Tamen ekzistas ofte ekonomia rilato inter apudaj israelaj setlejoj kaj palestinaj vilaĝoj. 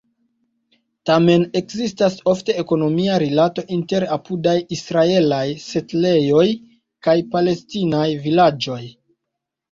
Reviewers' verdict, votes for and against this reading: rejected, 1, 2